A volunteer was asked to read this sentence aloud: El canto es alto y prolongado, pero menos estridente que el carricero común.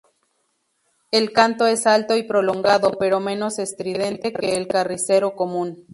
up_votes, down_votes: 2, 0